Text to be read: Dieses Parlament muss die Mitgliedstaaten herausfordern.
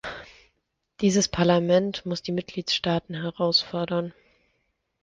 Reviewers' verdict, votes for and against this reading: accepted, 2, 0